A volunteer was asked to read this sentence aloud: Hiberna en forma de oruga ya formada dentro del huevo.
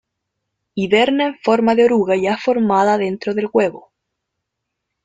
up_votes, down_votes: 1, 2